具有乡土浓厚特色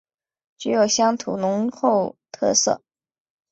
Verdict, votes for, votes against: accepted, 2, 0